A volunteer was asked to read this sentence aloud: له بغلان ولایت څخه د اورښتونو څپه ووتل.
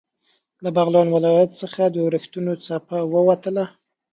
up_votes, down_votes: 1, 2